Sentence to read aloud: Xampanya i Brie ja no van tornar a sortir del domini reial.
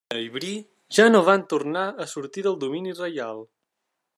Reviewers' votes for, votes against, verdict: 0, 2, rejected